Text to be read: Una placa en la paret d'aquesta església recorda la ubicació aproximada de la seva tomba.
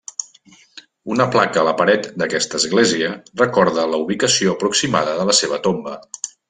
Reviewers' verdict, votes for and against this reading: rejected, 0, 2